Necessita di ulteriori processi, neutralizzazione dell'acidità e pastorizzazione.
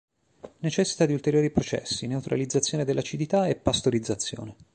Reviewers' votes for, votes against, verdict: 2, 0, accepted